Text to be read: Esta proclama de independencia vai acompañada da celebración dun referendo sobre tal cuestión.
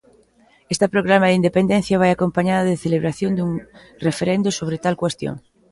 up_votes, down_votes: 1, 2